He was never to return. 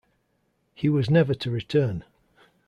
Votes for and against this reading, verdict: 2, 0, accepted